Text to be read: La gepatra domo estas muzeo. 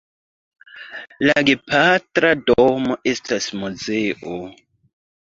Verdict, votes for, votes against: rejected, 0, 2